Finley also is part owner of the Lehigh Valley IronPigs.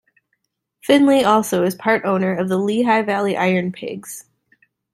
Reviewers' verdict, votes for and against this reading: accepted, 2, 1